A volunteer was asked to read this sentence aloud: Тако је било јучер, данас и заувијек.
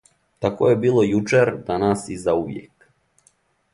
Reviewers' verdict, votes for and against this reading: accepted, 2, 0